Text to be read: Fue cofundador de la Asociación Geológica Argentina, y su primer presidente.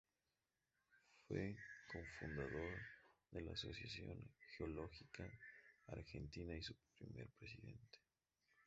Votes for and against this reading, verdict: 0, 2, rejected